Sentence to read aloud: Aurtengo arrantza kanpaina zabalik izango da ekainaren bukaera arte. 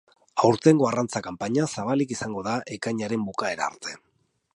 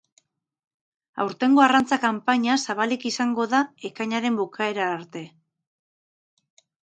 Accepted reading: first